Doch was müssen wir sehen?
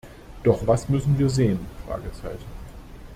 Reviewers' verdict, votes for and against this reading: rejected, 0, 2